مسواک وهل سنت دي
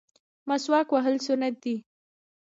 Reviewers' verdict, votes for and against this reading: rejected, 1, 2